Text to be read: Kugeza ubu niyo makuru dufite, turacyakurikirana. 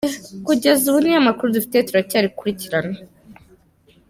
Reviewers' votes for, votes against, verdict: 2, 0, accepted